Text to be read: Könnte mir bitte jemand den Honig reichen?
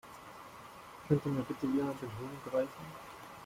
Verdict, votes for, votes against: rejected, 2, 3